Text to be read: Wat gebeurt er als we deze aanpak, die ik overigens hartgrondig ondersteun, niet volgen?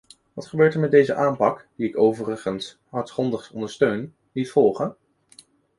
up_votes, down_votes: 0, 2